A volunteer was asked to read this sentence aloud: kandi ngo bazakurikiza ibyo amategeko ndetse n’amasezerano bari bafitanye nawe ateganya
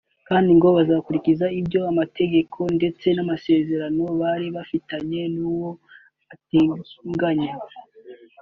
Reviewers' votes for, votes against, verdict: 1, 2, rejected